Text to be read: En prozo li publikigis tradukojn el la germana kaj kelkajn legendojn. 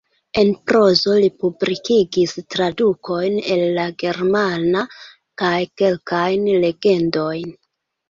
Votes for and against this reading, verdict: 1, 2, rejected